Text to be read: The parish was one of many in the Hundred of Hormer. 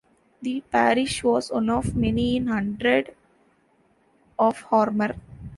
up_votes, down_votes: 0, 2